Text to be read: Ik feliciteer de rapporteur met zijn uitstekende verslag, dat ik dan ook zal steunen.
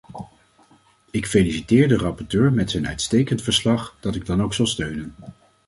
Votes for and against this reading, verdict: 1, 2, rejected